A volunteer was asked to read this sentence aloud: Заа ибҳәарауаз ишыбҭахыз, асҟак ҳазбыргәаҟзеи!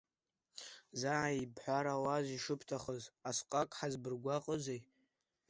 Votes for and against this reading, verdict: 0, 2, rejected